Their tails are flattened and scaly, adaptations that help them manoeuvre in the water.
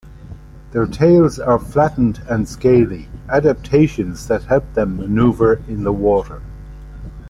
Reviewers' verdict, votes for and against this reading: accepted, 2, 0